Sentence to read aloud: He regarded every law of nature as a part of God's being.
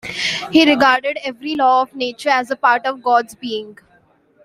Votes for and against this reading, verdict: 1, 2, rejected